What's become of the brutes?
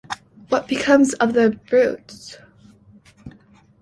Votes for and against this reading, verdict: 0, 2, rejected